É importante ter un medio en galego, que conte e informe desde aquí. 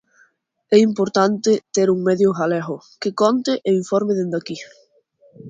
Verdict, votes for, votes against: rejected, 0, 2